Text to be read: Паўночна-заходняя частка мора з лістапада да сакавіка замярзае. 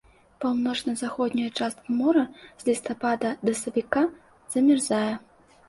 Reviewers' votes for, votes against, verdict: 1, 2, rejected